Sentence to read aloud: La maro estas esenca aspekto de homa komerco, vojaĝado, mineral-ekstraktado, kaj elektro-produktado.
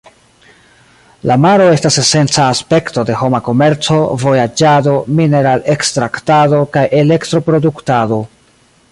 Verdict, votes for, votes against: rejected, 1, 2